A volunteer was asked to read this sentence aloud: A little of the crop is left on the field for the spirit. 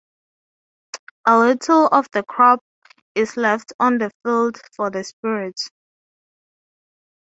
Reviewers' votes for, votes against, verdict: 0, 3, rejected